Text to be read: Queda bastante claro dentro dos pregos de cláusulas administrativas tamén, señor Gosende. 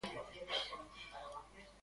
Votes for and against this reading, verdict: 0, 2, rejected